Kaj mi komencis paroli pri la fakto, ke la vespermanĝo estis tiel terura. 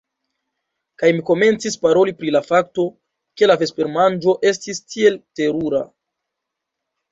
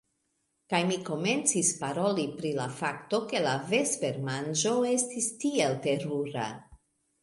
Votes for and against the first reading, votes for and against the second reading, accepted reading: 0, 2, 2, 0, second